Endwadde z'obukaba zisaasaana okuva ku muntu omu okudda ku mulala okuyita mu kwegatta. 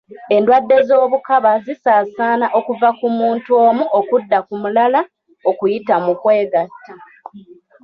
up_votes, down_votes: 1, 2